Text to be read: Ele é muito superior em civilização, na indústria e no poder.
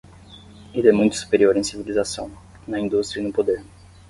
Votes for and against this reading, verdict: 10, 0, accepted